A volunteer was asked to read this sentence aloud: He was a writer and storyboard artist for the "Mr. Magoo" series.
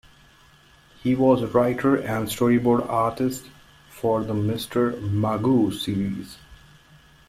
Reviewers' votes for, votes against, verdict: 2, 1, accepted